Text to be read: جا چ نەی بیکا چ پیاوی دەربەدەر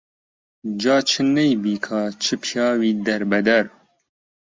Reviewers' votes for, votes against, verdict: 2, 0, accepted